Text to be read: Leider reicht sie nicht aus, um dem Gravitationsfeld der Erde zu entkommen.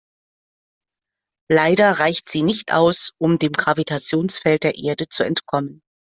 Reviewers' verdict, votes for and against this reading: accepted, 2, 0